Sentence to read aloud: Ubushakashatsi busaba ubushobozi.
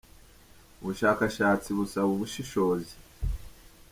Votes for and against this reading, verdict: 0, 2, rejected